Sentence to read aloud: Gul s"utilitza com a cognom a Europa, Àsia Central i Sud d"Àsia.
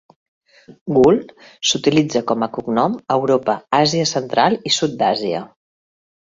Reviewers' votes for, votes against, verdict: 2, 0, accepted